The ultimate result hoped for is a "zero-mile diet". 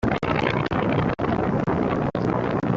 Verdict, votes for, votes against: rejected, 0, 2